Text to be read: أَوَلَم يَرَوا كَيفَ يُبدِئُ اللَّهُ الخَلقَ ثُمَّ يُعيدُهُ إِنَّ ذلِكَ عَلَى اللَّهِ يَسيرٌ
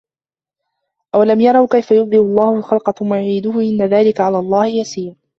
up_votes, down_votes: 1, 2